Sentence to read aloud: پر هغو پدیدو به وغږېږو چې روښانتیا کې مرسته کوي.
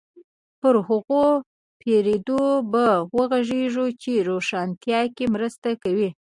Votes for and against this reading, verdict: 1, 2, rejected